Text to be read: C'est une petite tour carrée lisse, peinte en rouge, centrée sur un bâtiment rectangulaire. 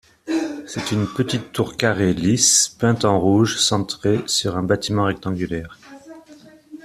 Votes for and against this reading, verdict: 2, 0, accepted